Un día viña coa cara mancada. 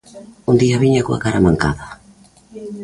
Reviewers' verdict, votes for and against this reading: accepted, 2, 0